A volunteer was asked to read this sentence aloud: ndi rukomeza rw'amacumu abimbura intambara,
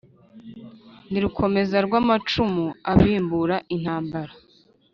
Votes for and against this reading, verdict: 2, 0, accepted